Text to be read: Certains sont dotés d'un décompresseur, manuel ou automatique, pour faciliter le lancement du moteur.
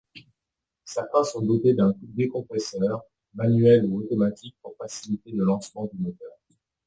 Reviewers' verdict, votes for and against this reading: accepted, 2, 0